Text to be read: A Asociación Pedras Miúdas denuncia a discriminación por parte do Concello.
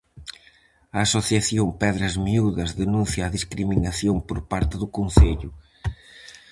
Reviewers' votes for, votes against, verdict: 4, 0, accepted